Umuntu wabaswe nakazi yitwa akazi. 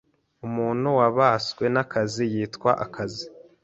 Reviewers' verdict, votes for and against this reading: accepted, 2, 0